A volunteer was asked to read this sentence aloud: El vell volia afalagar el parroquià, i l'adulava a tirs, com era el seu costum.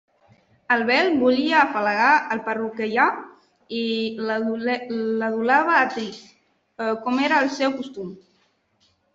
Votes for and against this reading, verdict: 0, 2, rejected